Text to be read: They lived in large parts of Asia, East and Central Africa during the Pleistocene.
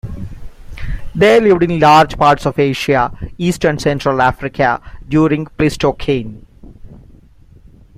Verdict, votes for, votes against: rejected, 1, 2